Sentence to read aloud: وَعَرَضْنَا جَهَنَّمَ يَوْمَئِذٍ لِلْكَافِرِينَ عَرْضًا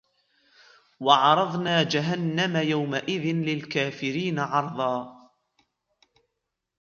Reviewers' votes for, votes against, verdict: 2, 0, accepted